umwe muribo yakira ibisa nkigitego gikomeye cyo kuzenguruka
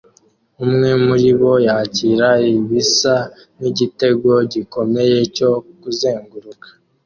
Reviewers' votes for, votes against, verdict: 2, 0, accepted